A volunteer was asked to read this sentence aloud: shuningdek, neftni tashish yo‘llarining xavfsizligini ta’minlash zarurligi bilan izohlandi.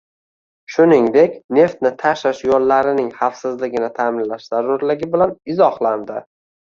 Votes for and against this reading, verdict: 2, 0, accepted